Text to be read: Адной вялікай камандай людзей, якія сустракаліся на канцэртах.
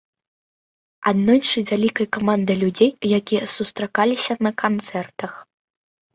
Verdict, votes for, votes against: rejected, 0, 2